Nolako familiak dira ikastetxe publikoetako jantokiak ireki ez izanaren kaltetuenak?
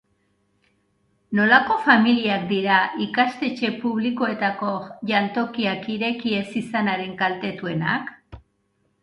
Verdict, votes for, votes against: accepted, 2, 0